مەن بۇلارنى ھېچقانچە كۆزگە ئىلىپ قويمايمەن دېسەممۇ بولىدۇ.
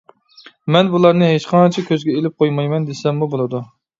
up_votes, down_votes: 2, 0